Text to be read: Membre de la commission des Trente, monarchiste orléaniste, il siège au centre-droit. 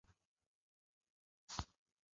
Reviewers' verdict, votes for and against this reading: rejected, 1, 2